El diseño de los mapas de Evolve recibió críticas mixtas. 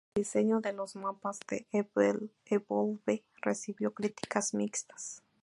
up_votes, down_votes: 0, 2